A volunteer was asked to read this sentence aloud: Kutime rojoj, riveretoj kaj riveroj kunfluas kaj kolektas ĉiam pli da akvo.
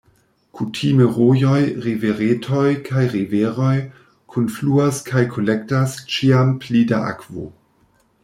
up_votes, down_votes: 1, 2